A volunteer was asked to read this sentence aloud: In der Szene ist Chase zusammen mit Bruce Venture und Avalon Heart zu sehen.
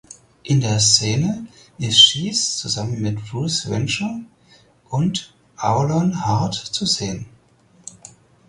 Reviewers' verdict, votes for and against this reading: rejected, 0, 4